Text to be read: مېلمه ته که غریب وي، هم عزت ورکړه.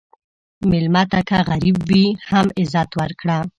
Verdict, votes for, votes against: accepted, 2, 0